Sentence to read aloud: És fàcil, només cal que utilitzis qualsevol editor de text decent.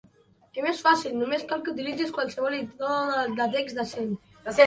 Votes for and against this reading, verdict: 0, 2, rejected